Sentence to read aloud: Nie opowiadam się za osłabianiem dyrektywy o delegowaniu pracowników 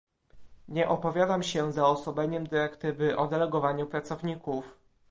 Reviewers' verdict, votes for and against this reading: rejected, 1, 2